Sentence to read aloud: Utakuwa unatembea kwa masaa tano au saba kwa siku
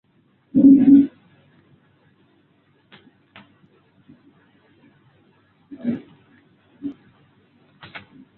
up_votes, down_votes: 2, 3